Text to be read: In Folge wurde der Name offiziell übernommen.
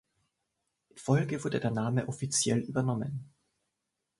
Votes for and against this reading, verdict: 2, 0, accepted